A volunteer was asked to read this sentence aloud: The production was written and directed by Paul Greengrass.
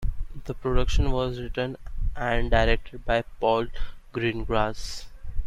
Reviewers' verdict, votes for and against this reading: accepted, 2, 1